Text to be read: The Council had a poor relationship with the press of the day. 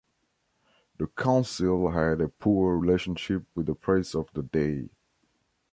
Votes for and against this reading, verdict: 2, 0, accepted